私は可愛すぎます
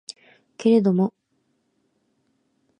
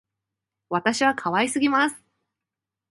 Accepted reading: second